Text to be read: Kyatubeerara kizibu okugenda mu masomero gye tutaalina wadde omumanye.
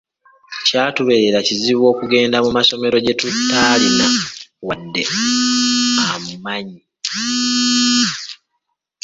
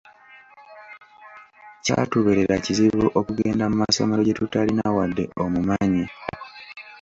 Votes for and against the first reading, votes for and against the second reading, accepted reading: 0, 2, 2, 0, second